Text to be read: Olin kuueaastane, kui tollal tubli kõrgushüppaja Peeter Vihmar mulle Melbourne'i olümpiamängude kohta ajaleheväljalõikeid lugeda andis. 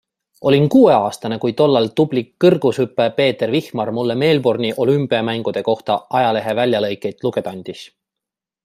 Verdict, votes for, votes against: accepted, 2, 0